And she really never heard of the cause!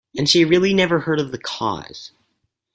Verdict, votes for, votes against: accepted, 4, 0